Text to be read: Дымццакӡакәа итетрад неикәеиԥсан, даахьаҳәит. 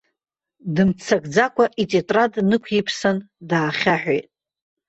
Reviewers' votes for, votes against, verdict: 0, 2, rejected